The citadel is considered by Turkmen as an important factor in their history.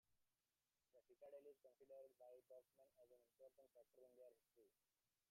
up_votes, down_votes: 0, 2